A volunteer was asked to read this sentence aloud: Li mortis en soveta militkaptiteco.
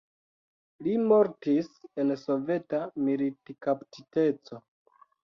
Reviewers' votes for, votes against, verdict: 2, 0, accepted